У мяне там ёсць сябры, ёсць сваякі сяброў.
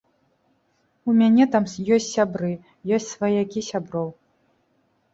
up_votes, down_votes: 1, 2